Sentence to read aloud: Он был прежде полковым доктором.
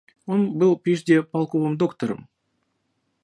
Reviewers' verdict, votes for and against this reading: rejected, 1, 2